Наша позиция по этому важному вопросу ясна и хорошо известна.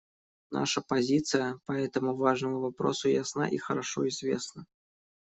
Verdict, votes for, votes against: accepted, 2, 0